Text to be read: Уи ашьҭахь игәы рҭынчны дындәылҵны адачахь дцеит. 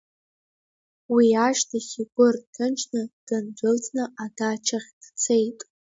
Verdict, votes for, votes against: accepted, 2, 1